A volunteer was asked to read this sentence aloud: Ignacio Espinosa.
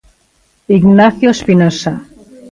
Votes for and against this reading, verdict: 2, 0, accepted